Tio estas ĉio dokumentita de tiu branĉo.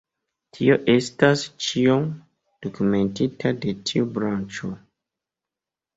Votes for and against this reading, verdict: 0, 2, rejected